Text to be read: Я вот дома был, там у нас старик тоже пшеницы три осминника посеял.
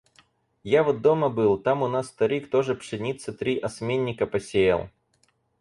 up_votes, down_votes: 4, 0